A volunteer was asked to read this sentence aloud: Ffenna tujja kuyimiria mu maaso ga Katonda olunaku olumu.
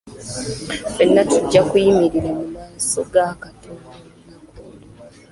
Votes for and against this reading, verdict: 0, 2, rejected